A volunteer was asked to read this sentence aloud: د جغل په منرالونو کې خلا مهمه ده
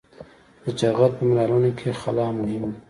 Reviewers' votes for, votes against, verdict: 2, 0, accepted